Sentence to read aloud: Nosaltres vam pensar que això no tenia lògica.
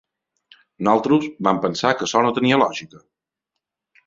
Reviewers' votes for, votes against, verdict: 1, 2, rejected